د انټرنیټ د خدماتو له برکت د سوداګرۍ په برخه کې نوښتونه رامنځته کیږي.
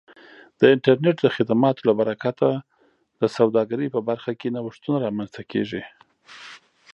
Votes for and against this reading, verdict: 1, 2, rejected